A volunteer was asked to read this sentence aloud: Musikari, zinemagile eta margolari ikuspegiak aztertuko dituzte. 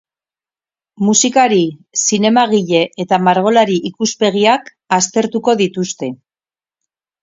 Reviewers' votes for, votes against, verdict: 8, 0, accepted